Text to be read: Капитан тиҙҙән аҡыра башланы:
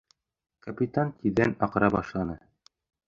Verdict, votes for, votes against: accepted, 2, 0